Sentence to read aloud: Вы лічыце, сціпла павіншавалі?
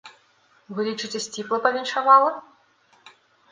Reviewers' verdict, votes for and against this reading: rejected, 1, 2